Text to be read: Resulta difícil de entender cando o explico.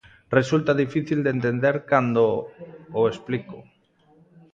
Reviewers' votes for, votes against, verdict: 2, 1, accepted